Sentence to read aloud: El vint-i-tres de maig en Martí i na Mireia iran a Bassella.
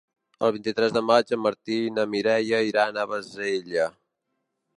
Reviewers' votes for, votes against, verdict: 3, 0, accepted